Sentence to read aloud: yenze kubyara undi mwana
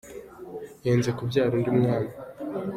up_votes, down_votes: 2, 0